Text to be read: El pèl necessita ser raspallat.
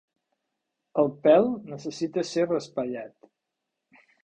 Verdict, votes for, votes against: accepted, 3, 0